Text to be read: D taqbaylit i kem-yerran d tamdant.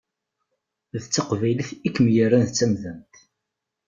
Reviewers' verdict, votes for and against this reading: accepted, 2, 1